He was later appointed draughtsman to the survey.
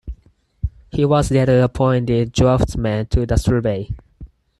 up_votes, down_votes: 0, 4